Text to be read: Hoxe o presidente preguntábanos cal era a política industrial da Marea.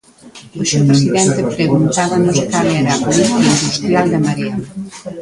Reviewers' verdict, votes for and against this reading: rejected, 1, 2